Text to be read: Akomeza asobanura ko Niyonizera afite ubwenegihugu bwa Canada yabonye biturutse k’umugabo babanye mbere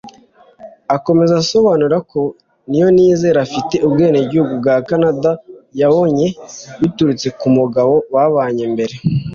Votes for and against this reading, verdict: 2, 0, accepted